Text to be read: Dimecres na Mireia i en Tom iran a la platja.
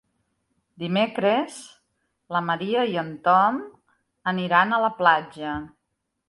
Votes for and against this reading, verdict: 0, 2, rejected